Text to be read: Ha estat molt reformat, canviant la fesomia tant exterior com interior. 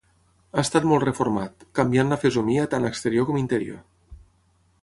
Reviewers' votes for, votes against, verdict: 3, 3, rejected